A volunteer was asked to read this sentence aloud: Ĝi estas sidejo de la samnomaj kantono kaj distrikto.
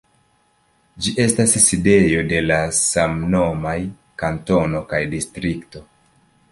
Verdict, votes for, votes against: accepted, 2, 0